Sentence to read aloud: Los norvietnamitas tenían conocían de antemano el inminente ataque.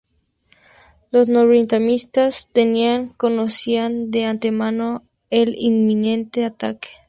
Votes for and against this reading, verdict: 2, 0, accepted